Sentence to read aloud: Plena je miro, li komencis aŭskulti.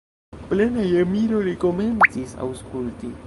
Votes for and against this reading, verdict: 0, 2, rejected